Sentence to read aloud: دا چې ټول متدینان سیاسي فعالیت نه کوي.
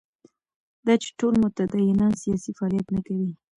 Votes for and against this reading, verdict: 0, 2, rejected